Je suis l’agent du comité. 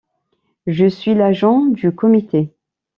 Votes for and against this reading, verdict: 2, 0, accepted